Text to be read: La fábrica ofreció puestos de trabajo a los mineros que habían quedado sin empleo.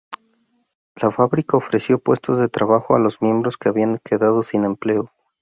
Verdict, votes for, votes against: rejected, 0, 2